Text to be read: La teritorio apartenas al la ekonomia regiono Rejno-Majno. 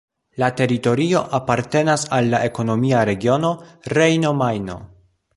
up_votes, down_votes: 2, 0